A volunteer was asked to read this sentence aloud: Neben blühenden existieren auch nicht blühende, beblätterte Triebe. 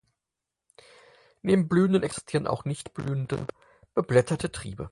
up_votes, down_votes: 2, 4